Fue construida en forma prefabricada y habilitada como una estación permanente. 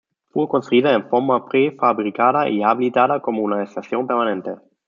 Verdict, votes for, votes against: rejected, 1, 2